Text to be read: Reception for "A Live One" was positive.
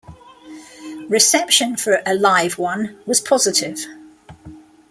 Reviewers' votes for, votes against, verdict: 2, 0, accepted